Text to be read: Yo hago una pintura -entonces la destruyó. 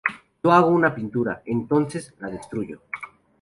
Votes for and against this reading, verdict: 2, 2, rejected